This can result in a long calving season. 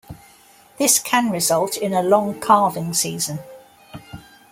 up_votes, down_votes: 0, 2